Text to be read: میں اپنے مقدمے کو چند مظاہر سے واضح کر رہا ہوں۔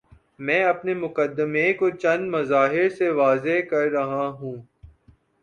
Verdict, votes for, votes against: accepted, 2, 0